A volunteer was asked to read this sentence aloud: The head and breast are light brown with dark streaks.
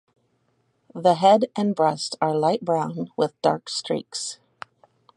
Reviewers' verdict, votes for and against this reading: accepted, 4, 0